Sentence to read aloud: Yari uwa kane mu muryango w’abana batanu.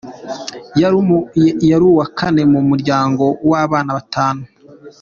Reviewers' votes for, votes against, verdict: 2, 0, accepted